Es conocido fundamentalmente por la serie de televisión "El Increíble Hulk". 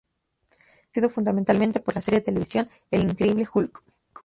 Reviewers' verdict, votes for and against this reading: rejected, 0, 2